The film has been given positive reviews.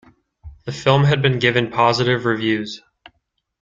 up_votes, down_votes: 2, 0